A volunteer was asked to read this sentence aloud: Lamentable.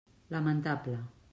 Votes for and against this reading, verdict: 3, 0, accepted